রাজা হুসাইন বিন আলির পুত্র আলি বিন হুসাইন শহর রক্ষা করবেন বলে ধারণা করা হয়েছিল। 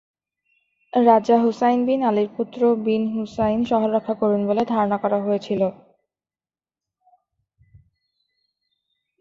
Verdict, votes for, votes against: rejected, 3, 5